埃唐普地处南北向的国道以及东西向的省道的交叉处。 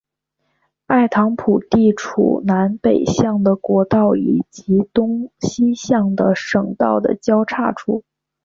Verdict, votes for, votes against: accepted, 2, 0